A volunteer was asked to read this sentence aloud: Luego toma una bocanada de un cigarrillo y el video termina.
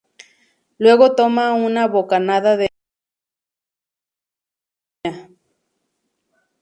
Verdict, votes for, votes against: rejected, 0, 2